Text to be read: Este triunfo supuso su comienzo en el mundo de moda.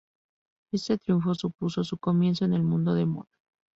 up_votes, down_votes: 0, 2